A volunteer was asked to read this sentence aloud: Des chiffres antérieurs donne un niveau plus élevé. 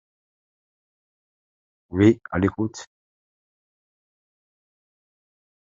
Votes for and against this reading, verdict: 0, 2, rejected